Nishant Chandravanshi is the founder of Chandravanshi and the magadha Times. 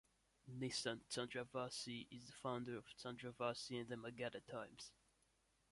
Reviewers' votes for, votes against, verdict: 0, 2, rejected